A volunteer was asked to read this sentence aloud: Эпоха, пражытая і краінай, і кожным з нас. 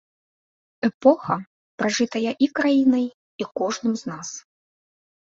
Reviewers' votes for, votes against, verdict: 2, 0, accepted